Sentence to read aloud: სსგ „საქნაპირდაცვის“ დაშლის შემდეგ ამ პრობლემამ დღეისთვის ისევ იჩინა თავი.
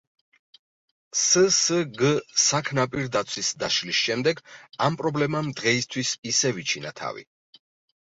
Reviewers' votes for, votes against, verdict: 2, 0, accepted